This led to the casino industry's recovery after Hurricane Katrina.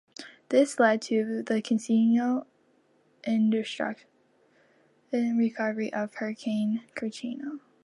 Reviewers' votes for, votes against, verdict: 1, 2, rejected